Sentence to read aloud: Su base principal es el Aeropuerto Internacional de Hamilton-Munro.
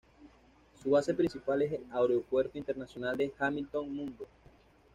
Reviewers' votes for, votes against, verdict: 1, 2, rejected